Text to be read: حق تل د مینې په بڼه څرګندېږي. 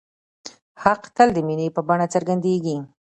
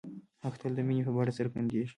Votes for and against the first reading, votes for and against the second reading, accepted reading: 0, 2, 2, 1, second